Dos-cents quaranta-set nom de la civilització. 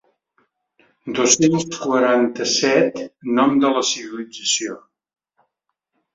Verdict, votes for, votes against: rejected, 0, 3